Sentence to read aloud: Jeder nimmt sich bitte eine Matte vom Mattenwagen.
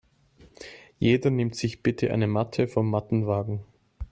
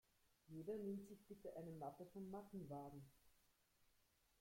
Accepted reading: first